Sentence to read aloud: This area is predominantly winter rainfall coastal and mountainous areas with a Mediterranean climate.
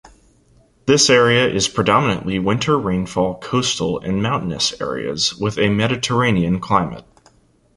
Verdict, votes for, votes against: accepted, 2, 0